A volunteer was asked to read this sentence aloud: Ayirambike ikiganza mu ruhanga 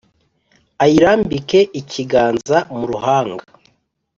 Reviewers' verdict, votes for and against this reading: accepted, 5, 0